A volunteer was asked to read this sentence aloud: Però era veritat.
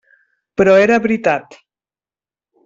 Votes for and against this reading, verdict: 3, 0, accepted